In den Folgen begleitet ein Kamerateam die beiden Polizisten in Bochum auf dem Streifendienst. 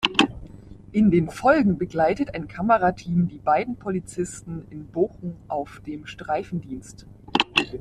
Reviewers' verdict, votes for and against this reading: rejected, 0, 2